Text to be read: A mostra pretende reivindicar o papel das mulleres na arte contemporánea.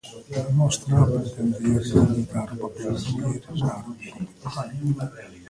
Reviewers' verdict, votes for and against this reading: rejected, 0, 2